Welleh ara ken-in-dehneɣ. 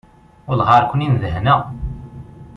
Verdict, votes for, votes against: accepted, 2, 0